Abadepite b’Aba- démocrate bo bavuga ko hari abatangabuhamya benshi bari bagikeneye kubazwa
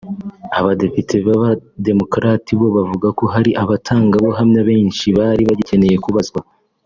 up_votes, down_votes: 0, 2